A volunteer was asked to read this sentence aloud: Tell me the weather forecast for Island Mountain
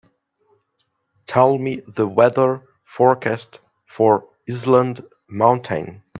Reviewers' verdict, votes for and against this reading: rejected, 1, 2